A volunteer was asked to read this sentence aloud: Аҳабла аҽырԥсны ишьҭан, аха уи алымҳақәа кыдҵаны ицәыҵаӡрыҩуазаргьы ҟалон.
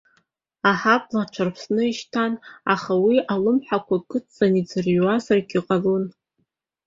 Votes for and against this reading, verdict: 1, 2, rejected